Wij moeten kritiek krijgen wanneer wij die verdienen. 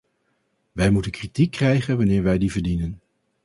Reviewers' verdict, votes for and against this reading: accepted, 4, 0